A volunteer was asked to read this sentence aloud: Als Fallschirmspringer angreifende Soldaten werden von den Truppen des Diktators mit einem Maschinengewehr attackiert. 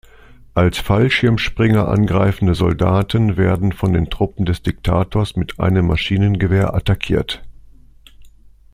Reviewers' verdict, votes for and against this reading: accepted, 2, 0